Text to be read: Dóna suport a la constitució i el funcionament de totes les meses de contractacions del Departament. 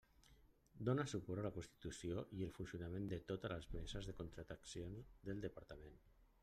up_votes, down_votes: 1, 2